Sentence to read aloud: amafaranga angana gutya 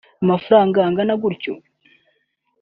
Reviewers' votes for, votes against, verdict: 0, 2, rejected